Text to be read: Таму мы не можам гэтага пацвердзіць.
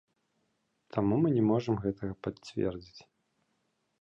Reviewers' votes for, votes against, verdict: 2, 0, accepted